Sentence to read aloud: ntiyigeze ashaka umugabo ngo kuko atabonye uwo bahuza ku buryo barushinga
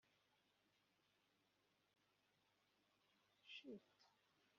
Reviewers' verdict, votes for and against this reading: rejected, 0, 2